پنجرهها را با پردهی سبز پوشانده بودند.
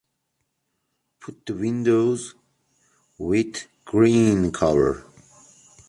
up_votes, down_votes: 0, 2